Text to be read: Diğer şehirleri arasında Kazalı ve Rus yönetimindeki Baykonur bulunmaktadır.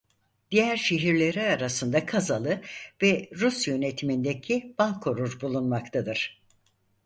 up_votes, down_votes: 0, 4